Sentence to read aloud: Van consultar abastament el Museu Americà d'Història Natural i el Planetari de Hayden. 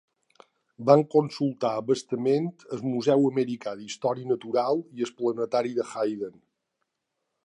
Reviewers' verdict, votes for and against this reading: accepted, 2, 0